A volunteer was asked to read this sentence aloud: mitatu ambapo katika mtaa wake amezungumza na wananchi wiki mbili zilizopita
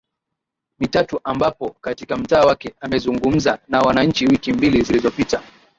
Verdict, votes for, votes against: accepted, 2, 0